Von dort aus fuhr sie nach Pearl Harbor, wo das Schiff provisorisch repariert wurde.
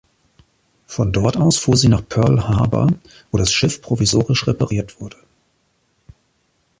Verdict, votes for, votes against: accepted, 2, 0